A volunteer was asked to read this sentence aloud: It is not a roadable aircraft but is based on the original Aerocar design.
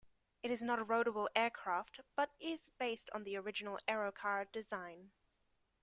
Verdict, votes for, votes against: accepted, 2, 0